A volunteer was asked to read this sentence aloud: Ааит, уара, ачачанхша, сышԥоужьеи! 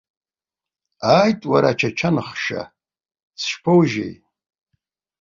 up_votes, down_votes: 2, 0